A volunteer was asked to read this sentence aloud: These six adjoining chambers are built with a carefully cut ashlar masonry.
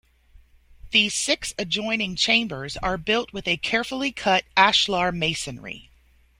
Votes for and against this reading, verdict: 2, 0, accepted